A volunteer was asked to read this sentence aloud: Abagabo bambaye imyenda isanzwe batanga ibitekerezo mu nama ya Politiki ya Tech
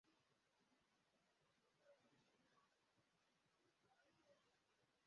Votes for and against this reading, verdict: 0, 2, rejected